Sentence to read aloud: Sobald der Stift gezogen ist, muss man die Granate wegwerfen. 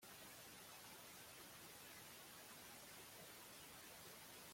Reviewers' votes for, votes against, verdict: 0, 2, rejected